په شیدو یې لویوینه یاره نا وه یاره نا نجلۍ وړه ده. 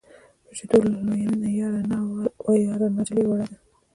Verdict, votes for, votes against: accepted, 2, 0